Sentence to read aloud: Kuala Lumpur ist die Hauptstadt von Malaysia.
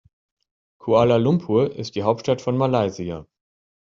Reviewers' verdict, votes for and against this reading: accepted, 2, 0